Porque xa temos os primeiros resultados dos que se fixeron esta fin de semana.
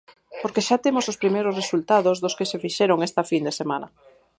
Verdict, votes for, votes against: accepted, 4, 0